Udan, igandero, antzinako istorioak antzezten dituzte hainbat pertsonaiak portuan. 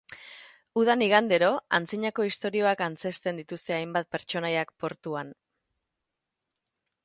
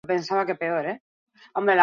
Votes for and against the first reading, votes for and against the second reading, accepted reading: 8, 0, 0, 2, first